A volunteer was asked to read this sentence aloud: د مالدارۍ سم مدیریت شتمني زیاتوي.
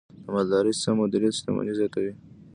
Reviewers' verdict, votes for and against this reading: rejected, 1, 2